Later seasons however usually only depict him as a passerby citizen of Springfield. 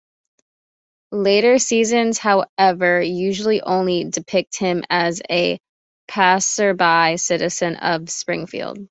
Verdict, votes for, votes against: accepted, 2, 0